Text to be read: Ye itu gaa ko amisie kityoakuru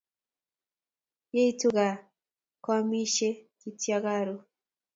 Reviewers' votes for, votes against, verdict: 2, 2, rejected